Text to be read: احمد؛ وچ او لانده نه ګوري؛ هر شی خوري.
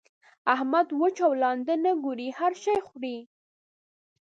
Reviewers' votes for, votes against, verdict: 2, 0, accepted